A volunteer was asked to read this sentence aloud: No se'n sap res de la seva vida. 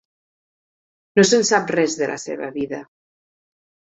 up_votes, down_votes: 4, 0